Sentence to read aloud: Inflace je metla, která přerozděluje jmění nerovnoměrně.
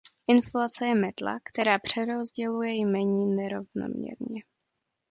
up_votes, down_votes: 1, 2